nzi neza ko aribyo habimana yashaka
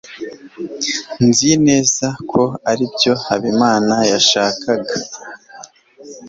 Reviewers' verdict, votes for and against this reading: rejected, 1, 2